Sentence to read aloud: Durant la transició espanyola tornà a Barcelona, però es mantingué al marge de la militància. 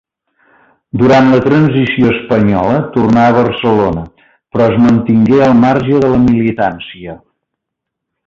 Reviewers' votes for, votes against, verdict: 2, 0, accepted